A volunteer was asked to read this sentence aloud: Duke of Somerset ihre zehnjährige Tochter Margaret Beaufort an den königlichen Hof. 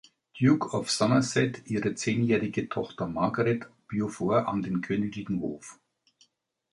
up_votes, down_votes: 1, 2